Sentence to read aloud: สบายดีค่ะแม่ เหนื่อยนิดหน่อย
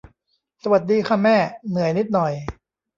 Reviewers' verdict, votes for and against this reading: rejected, 0, 2